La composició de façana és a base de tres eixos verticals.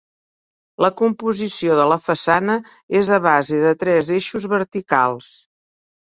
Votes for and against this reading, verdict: 0, 5, rejected